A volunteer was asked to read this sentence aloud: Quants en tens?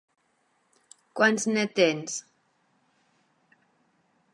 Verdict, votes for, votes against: rejected, 0, 2